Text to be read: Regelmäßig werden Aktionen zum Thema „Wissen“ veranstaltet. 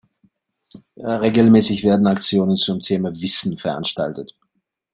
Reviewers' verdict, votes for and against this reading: accepted, 2, 0